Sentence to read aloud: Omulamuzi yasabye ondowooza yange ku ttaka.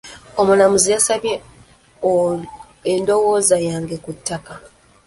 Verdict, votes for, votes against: rejected, 0, 2